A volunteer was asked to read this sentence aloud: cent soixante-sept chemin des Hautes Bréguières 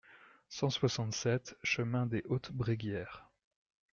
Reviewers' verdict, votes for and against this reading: accepted, 2, 0